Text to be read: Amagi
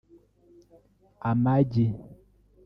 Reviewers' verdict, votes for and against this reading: rejected, 1, 2